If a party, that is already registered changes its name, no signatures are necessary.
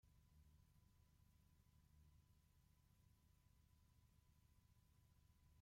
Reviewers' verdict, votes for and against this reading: rejected, 0, 2